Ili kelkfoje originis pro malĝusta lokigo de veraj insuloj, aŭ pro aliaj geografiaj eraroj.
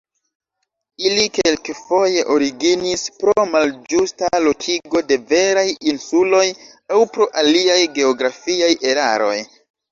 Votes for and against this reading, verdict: 2, 1, accepted